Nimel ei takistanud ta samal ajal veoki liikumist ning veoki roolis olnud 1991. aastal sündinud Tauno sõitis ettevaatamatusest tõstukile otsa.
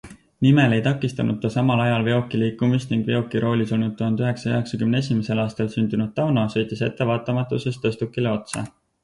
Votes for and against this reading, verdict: 0, 2, rejected